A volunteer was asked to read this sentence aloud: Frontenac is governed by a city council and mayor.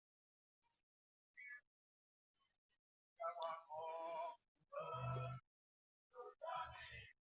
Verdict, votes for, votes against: rejected, 0, 2